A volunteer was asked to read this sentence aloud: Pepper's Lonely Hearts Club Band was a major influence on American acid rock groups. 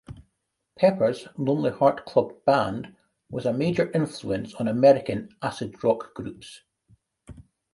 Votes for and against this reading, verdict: 0, 2, rejected